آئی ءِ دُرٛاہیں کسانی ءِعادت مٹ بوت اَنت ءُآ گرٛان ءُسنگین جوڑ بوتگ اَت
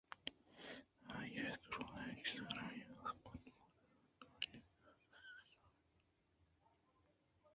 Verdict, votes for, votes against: rejected, 0, 2